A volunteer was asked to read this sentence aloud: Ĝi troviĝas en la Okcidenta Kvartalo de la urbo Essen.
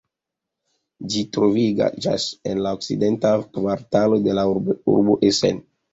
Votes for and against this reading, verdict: 0, 2, rejected